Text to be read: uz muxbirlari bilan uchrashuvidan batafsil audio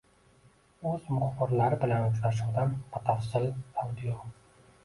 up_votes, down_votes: 1, 2